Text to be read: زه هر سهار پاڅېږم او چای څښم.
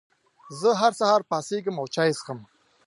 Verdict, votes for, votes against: accepted, 2, 0